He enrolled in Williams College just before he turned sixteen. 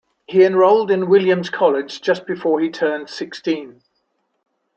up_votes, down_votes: 3, 0